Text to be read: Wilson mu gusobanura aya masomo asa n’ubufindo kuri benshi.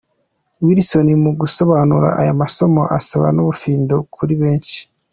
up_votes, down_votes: 2, 1